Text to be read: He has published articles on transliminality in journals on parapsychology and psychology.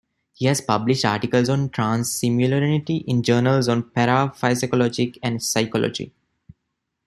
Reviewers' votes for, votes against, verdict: 1, 2, rejected